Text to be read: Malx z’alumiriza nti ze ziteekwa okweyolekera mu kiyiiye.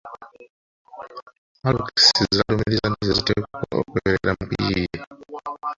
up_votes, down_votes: 0, 2